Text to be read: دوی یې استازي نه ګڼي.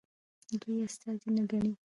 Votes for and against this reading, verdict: 1, 2, rejected